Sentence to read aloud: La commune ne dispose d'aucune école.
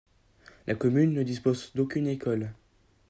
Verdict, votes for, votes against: accepted, 2, 0